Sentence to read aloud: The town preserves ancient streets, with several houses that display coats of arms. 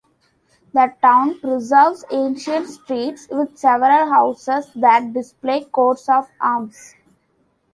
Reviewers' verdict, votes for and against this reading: accepted, 2, 1